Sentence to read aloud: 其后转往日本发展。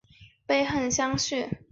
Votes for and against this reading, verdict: 1, 2, rejected